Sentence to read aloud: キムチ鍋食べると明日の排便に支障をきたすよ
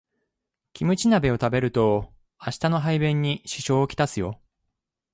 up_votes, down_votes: 2, 0